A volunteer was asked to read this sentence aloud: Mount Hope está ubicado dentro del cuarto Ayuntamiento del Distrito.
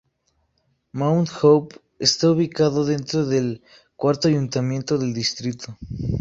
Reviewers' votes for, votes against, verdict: 0, 2, rejected